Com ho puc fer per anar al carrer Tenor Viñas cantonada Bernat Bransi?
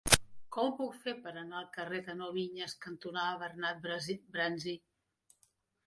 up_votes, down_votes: 0, 2